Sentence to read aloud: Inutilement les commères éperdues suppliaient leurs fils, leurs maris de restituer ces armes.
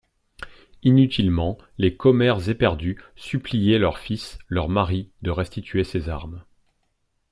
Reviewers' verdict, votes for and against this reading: accepted, 2, 0